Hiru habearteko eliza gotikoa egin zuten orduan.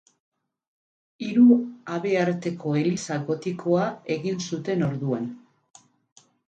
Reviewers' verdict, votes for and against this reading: accepted, 6, 0